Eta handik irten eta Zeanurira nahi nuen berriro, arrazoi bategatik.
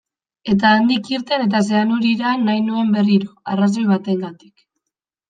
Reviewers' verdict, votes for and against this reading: accepted, 2, 0